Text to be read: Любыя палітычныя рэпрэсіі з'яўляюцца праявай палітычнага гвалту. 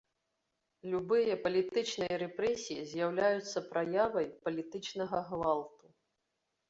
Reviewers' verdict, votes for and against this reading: accepted, 2, 1